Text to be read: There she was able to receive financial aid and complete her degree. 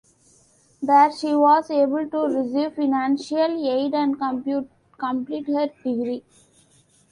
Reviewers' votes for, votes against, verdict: 0, 2, rejected